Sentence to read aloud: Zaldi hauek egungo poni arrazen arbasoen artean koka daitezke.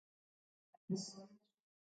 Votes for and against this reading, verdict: 0, 2, rejected